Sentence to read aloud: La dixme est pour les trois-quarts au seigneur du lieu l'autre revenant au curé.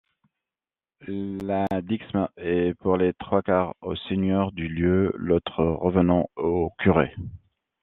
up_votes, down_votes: 0, 2